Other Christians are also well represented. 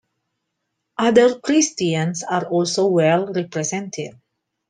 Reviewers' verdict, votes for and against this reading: accepted, 2, 0